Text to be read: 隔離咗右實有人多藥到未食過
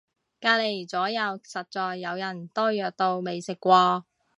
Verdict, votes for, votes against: rejected, 1, 2